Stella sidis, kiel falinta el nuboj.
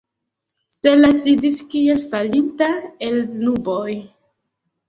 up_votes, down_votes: 1, 2